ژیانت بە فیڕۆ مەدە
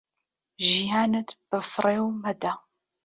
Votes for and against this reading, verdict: 0, 2, rejected